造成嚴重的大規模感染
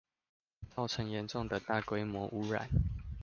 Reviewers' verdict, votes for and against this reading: rejected, 0, 2